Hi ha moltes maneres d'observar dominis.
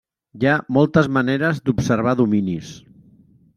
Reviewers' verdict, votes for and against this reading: accepted, 3, 0